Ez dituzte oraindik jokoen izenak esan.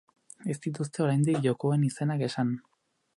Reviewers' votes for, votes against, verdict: 6, 0, accepted